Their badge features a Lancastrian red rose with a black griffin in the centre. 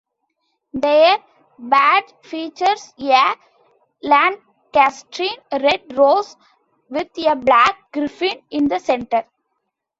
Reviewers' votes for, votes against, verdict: 1, 2, rejected